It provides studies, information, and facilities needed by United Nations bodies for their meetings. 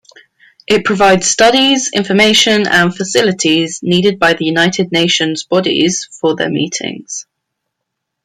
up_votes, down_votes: 1, 2